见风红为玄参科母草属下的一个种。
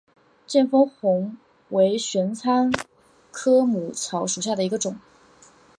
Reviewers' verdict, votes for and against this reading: accepted, 3, 0